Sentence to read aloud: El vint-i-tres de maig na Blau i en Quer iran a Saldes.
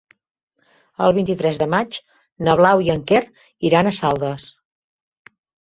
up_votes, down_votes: 3, 1